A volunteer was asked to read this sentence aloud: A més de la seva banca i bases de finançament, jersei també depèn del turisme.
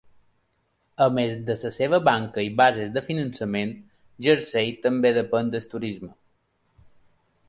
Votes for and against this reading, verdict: 1, 2, rejected